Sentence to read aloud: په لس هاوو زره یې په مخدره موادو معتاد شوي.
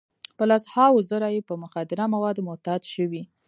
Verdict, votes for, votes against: accepted, 2, 0